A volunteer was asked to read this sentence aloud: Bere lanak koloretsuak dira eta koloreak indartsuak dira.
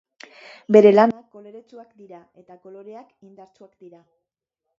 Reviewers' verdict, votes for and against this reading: rejected, 1, 2